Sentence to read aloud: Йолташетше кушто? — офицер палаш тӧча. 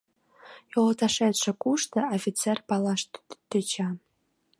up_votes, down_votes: 1, 2